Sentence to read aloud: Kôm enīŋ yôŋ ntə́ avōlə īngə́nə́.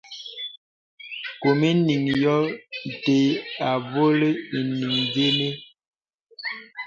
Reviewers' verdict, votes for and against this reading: rejected, 1, 2